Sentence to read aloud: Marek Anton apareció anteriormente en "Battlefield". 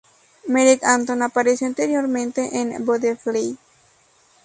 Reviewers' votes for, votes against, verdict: 2, 0, accepted